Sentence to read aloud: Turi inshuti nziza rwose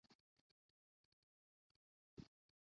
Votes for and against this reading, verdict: 0, 2, rejected